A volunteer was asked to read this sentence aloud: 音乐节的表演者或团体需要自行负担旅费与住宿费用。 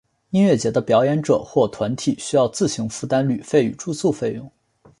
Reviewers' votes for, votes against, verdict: 2, 0, accepted